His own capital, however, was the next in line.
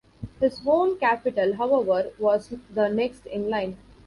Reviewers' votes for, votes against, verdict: 1, 2, rejected